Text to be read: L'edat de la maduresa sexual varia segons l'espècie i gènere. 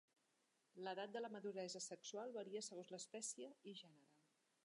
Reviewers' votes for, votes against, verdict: 1, 2, rejected